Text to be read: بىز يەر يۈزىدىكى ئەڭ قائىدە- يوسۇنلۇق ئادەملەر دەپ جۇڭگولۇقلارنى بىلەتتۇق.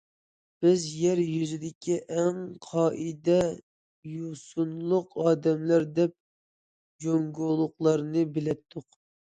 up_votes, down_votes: 2, 0